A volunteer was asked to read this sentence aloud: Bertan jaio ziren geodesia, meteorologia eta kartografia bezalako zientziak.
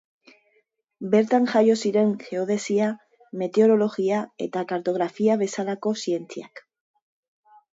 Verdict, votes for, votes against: accepted, 2, 0